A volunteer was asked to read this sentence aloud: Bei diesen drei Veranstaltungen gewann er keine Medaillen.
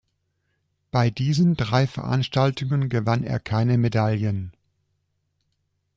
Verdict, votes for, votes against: accepted, 2, 0